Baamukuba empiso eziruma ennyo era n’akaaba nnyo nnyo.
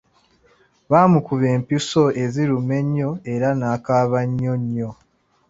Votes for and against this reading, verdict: 2, 0, accepted